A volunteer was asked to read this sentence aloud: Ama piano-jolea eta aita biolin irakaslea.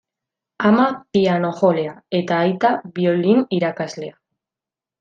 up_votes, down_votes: 2, 0